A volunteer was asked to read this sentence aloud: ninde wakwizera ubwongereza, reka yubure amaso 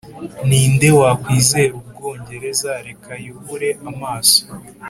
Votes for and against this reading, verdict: 3, 0, accepted